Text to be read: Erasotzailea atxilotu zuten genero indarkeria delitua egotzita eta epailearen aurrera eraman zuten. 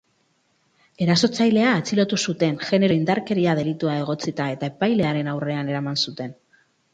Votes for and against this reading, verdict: 0, 2, rejected